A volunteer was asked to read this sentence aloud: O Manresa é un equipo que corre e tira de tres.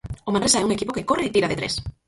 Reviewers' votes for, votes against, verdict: 0, 4, rejected